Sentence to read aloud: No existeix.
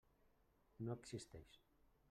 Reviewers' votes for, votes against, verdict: 1, 2, rejected